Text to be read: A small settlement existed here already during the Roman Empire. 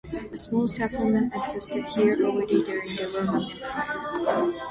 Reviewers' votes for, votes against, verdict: 0, 2, rejected